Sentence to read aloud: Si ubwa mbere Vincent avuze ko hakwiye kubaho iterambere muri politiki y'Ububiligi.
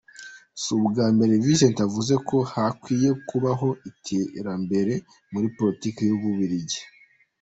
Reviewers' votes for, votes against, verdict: 2, 0, accepted